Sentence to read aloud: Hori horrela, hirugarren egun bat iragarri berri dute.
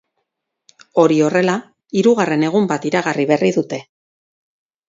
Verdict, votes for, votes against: rejected, 4, 6